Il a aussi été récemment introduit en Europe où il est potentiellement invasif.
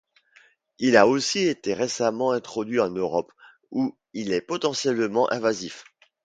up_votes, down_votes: 2, 0